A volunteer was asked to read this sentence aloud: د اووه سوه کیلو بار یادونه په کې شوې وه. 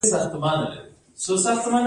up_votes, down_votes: 1, 2